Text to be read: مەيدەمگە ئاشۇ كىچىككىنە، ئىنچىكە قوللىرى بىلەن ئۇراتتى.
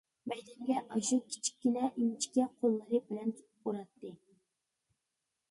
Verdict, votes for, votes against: rejected, 0, 2